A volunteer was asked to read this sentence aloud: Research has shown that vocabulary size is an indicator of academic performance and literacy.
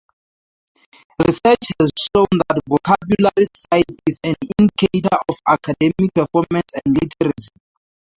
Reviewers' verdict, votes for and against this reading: accepted, 2, 0